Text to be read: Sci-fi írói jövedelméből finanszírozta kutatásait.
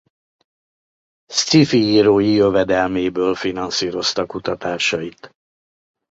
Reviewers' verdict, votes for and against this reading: accepted, 2, 1